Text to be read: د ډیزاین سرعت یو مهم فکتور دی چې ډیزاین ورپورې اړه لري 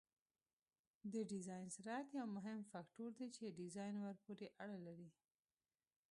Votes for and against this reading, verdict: 1, 2, rejected